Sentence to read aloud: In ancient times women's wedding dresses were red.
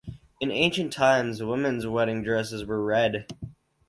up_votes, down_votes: 2, 2